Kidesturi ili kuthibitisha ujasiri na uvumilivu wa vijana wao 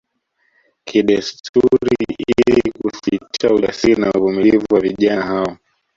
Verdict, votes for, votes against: accepted, 2, 0